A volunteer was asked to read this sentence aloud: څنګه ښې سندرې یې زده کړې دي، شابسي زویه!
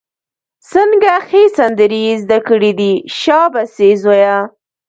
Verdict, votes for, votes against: rejected, 0, 2